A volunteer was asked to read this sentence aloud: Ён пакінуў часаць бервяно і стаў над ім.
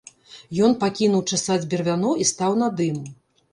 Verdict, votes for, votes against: accepted, 2, 0